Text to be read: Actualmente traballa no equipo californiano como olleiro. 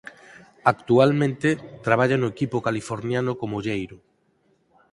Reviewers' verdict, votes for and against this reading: accepted, 4, 0